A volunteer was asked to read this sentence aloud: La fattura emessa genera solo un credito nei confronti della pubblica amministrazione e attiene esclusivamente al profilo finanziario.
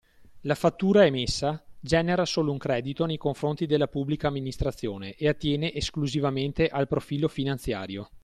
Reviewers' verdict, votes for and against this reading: accepted, 2, 0